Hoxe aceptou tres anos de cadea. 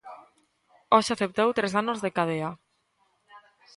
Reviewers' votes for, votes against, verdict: 2, 0, accepted